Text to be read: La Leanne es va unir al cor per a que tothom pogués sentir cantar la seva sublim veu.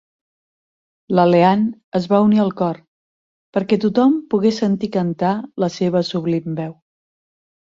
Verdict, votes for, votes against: rejected, 2, 6